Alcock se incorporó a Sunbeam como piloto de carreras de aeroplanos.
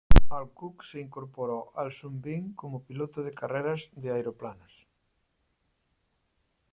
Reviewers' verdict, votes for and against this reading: accepted, 2, 1